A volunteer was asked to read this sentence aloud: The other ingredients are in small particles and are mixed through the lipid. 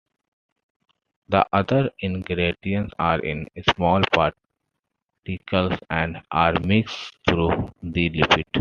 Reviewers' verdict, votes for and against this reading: accepted, 2, 1